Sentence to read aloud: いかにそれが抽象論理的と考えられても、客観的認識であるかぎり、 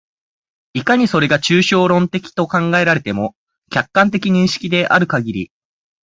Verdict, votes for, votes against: rejected, 0, 4